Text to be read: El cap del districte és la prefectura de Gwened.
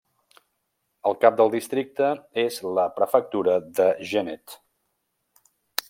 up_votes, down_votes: 1, 2